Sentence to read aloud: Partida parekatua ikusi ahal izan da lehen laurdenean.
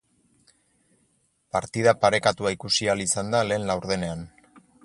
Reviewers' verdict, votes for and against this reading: accepted, 4, 0